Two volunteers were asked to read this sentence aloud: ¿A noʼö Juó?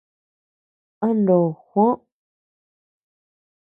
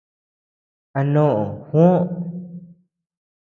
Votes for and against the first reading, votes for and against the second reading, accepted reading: 0, 2, 2, 0, second